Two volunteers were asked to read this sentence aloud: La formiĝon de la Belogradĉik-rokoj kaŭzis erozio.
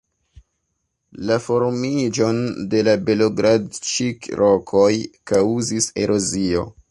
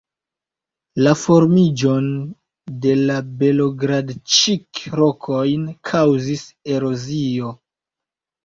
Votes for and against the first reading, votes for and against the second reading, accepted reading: 2, 1, 0, 2, first